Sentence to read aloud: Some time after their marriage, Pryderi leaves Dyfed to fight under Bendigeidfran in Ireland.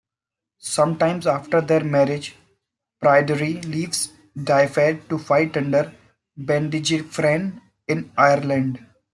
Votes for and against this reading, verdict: 2, 1, accepted